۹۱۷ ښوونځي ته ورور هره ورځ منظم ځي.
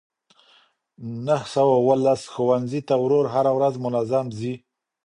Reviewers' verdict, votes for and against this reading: rejected, 0, 2